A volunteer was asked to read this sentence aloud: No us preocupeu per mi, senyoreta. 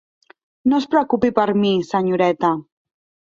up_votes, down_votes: 0, 2